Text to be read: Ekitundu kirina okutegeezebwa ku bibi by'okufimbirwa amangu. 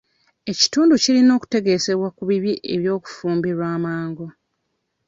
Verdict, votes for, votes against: rejected, 1, 2